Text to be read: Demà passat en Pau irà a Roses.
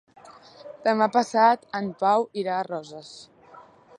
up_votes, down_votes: 3, 0